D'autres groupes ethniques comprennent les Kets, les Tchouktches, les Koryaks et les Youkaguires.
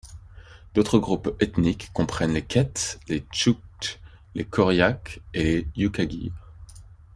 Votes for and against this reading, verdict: 2, 1, accepted